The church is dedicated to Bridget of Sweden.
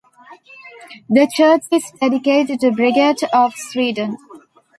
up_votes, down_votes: 0, 2